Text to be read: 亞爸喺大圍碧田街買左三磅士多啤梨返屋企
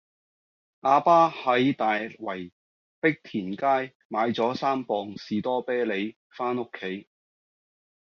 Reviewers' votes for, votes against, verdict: 2, 0, accepted